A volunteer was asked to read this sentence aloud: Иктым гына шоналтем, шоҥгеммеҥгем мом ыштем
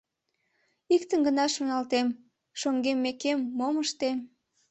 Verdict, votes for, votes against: rejected, 1, 2